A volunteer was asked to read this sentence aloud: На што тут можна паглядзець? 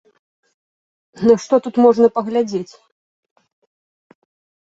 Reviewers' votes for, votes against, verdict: 2, 0, accepted